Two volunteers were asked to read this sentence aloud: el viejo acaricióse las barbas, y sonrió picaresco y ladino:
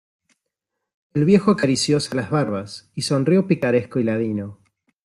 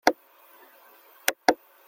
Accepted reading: first